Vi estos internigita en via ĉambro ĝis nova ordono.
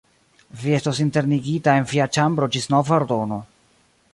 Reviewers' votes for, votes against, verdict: 2, 0, accepted